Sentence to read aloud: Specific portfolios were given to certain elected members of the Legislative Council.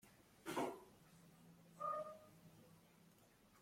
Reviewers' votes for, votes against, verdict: 0, 2, rejected